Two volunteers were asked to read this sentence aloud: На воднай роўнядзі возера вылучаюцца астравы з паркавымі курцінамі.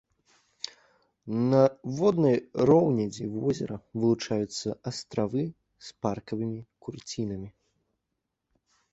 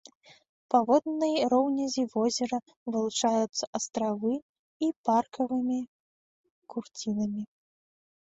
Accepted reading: first